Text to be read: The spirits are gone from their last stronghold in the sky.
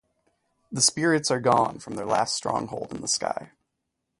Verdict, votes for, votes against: accepted, 2, 0